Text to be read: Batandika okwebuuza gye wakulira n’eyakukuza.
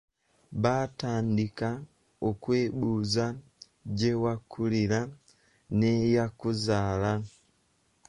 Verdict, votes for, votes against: rejected, 1, 2